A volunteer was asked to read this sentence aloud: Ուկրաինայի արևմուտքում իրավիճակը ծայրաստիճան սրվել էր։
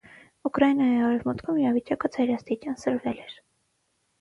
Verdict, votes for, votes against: accepted, 6, 0